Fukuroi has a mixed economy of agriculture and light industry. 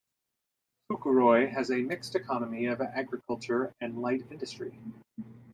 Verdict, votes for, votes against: accepted, 2, 1